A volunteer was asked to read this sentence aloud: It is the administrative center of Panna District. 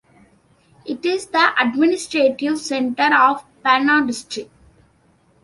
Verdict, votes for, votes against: accepted, 2, 0